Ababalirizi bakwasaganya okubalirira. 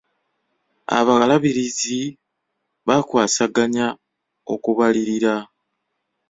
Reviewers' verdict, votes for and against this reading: rejected, 0, 2